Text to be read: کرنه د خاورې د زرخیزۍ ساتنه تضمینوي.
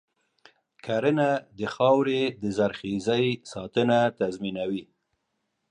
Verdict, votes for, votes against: accepted, 2, 0